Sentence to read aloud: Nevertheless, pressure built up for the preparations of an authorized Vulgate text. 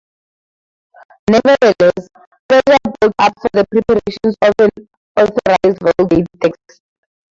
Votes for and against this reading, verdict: 0, 4, rejected